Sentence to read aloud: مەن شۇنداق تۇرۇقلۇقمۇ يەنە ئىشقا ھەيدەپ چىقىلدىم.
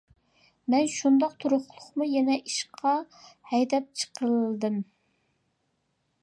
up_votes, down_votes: 2, 0